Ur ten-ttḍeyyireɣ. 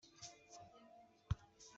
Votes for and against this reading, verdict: 0, 2, rejected